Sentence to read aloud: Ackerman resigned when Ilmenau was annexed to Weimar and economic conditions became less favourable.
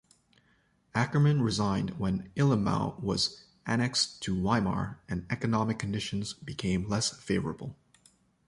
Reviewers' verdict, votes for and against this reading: rejected, 1, 2